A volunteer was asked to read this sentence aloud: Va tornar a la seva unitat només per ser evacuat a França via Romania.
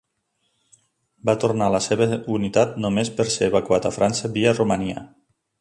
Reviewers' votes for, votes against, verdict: 2, 1, accepted